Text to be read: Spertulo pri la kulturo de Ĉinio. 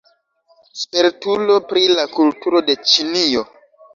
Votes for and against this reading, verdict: 2, 1, accepted